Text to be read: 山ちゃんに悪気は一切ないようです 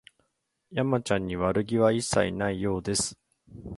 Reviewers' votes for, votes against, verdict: 2, 0, accepted